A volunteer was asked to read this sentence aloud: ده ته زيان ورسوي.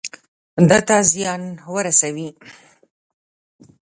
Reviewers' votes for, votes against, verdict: 0, 2, rejected